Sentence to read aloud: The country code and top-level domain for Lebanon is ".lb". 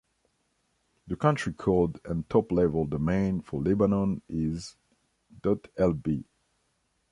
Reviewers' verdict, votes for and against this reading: accepted, 2, 0